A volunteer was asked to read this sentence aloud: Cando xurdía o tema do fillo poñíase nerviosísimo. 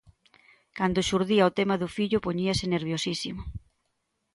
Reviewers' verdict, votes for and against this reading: accepted, 2, 0